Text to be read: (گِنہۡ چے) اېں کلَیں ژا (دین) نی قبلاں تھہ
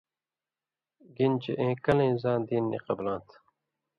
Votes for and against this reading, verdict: 1, 2, rejected